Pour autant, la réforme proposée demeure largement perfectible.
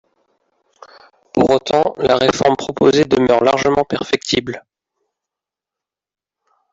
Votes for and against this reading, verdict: 1, 2, rejected